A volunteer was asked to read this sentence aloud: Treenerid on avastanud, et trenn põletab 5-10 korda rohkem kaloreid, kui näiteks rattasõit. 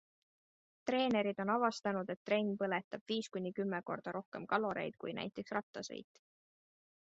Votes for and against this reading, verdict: 0, 2, rejected